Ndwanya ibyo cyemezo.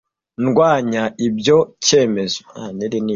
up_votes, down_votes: 1, 2